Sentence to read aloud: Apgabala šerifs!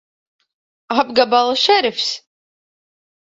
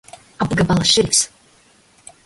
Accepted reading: first